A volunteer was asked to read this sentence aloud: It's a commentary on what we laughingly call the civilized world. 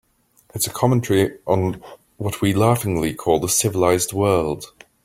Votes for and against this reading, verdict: 3, 0, accepted